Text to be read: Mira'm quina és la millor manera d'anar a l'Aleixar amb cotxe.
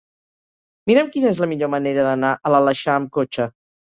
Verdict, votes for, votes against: accepted, 3, 0